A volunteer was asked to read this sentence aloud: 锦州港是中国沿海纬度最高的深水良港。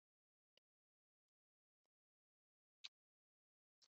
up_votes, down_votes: 0, 2